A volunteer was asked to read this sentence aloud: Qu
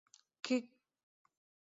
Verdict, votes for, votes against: rejected, 0, 2